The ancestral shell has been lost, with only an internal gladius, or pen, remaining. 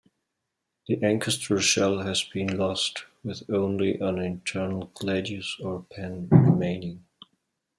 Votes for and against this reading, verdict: 1, 2, rejected